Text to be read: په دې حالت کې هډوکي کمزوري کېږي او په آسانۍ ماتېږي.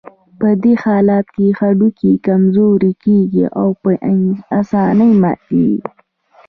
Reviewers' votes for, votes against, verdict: 1, 2, rejected